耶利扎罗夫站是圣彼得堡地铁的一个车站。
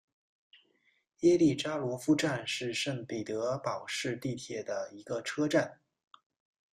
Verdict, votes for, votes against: rejected, 0, 2